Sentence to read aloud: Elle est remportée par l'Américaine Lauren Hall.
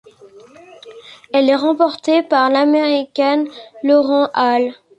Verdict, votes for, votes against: rejected, 1, 2